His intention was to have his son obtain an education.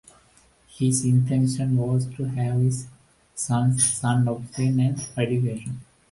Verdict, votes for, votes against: rejected, 0, 2